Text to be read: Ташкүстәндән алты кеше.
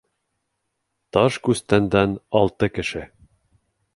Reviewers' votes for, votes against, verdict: 2, 0, accepted